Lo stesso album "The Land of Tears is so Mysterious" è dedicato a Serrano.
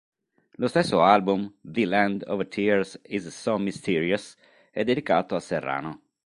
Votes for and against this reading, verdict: 3, 0, accepted